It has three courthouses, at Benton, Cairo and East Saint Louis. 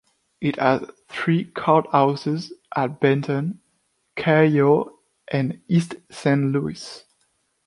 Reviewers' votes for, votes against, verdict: 0, 3, rejected